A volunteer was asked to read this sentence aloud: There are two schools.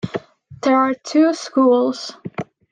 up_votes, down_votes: 2, 0